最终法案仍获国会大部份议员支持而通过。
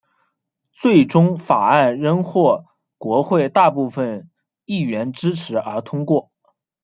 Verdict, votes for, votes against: rejected, 1, 2